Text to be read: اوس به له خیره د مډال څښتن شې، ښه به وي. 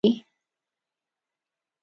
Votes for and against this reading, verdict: 1, 2, rejected